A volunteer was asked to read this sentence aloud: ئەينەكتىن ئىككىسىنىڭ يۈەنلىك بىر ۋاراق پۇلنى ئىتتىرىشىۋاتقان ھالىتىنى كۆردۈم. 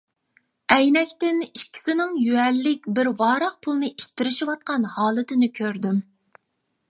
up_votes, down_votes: 2, 0